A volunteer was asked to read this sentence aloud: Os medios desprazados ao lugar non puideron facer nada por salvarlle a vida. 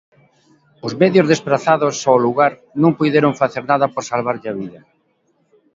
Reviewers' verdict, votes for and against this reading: accepted, 2, 0